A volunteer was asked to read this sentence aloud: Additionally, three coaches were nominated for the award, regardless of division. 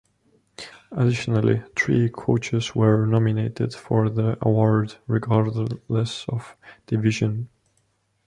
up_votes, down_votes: 1, 2